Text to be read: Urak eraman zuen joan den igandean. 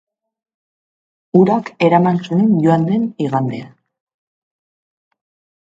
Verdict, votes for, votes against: accepted, 2, 0